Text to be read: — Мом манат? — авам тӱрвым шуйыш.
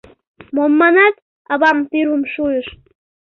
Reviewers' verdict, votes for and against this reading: accepted, 2, 0